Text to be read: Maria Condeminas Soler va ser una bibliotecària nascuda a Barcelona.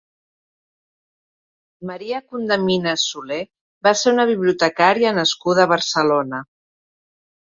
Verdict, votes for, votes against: accepted, 2, 0